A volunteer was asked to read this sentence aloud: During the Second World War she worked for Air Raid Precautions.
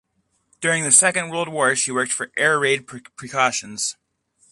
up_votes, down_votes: 0, 2